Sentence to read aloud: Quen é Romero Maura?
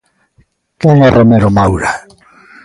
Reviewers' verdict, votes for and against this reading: rejected, 1, 2